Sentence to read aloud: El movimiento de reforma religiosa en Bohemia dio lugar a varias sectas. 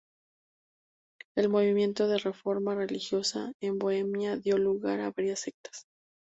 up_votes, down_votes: 2, 2